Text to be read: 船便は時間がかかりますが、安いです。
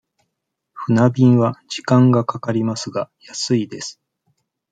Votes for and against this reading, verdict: 2, 0, accepted